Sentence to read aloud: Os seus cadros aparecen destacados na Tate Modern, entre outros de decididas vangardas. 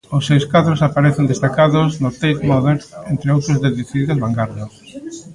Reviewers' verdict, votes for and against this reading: rejected, 1, 2